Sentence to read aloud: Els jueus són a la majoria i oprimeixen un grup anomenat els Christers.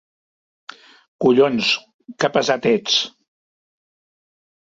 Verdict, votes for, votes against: rejected, 0, 3